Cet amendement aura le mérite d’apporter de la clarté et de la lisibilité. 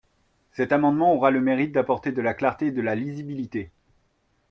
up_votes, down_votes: 2, 0